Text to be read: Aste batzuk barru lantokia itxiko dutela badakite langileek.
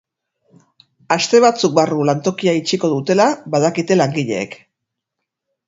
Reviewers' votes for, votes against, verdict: 2, 2, rejected